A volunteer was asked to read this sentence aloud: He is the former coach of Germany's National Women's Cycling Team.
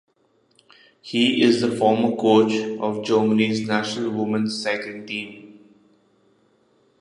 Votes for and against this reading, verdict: 1, 2, rejected